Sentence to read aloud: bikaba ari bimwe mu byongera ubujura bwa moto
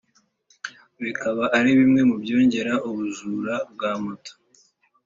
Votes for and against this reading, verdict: 4, 0, accepted